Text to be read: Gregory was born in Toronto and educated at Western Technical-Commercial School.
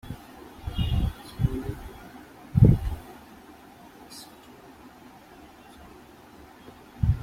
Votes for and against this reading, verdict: 0, 2, rejected